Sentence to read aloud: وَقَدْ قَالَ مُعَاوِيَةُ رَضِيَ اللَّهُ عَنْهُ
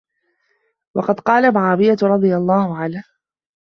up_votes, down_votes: 2, 0